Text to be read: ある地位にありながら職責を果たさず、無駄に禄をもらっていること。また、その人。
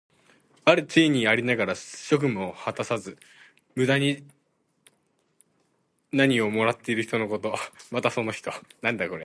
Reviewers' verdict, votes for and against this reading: rejected, 0, 4